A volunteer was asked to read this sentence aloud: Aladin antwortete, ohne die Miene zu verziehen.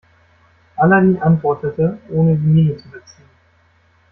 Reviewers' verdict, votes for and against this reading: rejected, 1, 2